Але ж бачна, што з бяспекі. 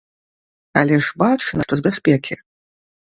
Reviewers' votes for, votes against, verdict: 1, 2, rejected